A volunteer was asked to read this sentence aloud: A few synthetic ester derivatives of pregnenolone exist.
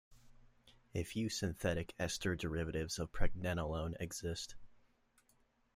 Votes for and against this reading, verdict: 2, 0, accepted